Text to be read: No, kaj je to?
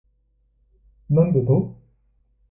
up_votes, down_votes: 0, 2